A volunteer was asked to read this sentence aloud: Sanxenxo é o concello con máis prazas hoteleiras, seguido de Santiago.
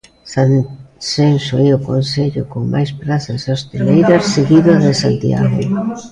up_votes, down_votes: 0, 2